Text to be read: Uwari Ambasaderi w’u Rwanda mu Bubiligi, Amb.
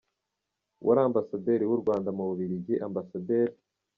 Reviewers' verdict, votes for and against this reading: accepted, 2, 0